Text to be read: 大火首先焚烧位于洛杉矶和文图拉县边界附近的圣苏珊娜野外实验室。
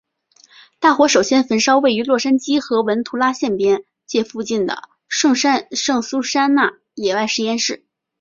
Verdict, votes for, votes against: rejected, 2, 4